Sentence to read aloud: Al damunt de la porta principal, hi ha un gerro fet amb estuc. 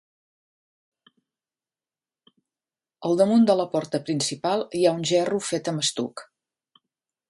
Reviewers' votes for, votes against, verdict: 0, 2, rejected